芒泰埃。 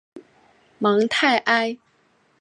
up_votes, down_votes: 2, 0